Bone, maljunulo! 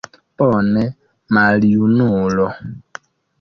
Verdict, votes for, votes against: rejected, 0, 2